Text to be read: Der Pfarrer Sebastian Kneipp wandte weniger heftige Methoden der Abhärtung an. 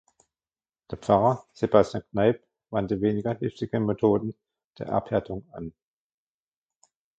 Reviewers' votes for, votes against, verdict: 0, 2, rejected